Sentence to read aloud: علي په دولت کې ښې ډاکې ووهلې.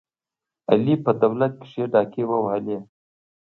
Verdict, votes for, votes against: accepted, 2, 0